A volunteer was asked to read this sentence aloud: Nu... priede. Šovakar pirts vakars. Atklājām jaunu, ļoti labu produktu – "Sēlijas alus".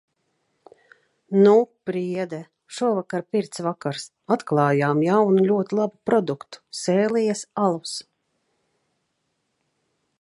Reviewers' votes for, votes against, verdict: 2, 0, accepted